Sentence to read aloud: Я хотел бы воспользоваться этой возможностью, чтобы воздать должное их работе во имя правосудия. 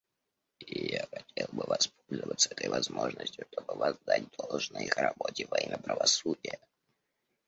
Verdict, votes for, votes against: rejected, 0, 2